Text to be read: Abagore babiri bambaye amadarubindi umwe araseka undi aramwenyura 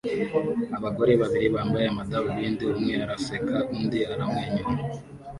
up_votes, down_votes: 2, 0